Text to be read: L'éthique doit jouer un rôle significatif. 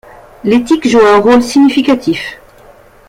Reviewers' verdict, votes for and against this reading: rejected, 1, 2